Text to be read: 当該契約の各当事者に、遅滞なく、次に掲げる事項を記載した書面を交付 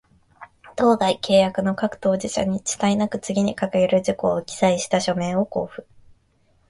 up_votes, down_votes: 2, 0